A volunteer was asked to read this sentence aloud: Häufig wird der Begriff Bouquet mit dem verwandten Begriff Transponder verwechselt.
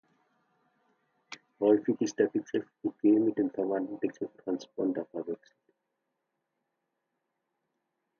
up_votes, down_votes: 0, 2